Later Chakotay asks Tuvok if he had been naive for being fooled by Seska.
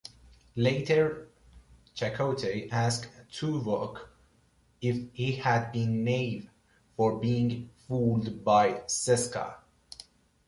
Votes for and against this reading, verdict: 2, 1, accepted